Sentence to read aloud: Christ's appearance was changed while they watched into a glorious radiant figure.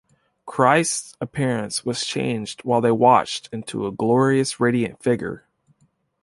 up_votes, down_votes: 2, 0